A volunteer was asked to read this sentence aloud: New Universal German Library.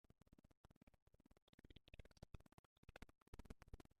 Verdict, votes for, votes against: rejected, 0, 2